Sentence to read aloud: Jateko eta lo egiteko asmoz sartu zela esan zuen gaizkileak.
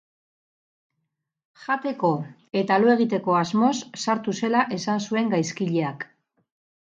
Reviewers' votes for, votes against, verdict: 6, 0, accepted